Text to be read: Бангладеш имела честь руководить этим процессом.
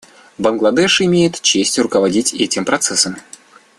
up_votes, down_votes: 1, 2